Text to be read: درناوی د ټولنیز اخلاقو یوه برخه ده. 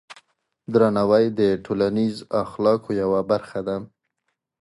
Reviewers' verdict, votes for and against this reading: accepted, 2, 0